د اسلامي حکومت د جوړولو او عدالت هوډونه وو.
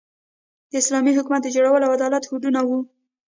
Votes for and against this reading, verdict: 1, 2, rejected